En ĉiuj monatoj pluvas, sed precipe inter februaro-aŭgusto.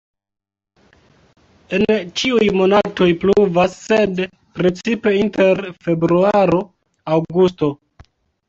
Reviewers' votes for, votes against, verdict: 2, 3, rejected